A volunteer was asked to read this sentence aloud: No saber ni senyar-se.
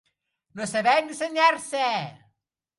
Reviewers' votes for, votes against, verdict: 1, 2, rejected